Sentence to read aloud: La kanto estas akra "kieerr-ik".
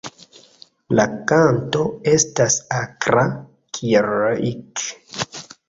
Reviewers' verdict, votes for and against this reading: accepted, 3, 0